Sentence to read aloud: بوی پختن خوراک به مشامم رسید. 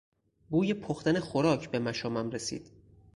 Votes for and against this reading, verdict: 4, 0, accepted